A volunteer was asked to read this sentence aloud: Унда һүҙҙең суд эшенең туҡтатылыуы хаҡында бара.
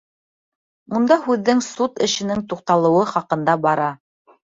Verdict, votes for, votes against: rejected, 1, 2